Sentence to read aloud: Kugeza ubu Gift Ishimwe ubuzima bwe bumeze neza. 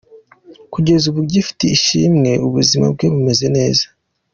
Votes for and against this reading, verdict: 2, 0, accepted